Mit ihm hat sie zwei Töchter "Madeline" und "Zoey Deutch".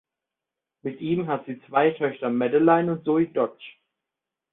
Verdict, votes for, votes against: rejected, 0, 2